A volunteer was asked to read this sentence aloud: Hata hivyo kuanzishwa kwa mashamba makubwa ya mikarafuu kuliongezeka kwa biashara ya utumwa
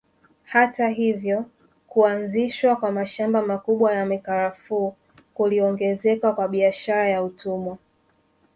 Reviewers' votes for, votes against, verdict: 1, 2, rejected